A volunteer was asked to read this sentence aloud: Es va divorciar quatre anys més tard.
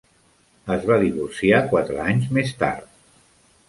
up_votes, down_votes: 3, 0